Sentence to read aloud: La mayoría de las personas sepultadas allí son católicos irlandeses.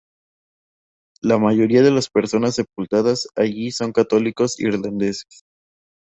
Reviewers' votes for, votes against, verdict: 2, 0, accepted